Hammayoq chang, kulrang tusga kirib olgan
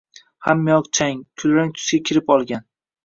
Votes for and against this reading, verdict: 2, 0, accepted